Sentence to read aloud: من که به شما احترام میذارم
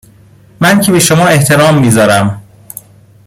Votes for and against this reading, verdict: 2, 0, accepted